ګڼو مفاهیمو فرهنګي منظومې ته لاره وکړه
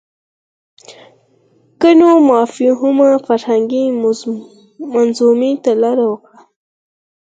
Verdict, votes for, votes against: accepted, 4, 0